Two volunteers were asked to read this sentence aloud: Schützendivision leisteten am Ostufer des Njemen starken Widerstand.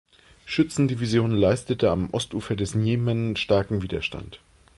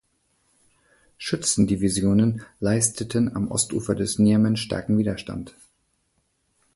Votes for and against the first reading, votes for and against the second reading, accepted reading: 1, 2, 2, 1, second